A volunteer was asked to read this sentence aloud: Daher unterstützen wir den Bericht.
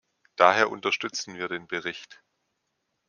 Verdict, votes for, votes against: accepted, 2, 0